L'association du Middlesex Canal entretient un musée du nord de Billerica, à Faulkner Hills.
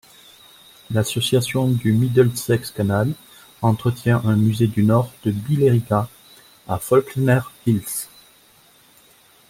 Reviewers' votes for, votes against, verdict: 1, 2, rejected